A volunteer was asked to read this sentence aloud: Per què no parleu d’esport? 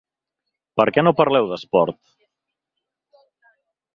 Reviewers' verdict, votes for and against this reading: accepted, 3, 0